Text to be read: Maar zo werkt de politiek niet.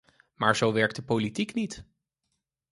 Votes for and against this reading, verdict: 4, 0, accepted